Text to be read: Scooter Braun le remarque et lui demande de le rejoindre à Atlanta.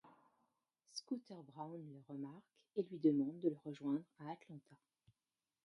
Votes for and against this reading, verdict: 1, 3, rejected